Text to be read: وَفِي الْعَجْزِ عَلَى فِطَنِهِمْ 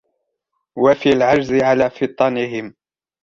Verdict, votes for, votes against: accepted, 2, 0